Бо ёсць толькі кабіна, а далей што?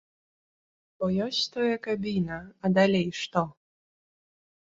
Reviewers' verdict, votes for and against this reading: rejected, 0, 2